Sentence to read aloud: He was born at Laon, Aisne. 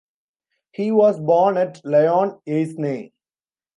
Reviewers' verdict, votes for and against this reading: rejected, 0, 2